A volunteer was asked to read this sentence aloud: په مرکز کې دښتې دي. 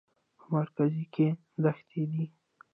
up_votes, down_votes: 2, 1